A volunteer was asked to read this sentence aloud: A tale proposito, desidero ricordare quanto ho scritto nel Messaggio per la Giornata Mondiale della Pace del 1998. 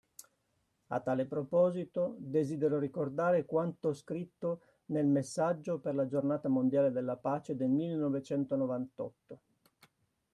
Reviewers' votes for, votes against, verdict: 0, 2, rejected